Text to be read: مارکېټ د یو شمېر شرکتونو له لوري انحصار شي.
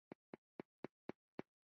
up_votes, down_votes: 2, 1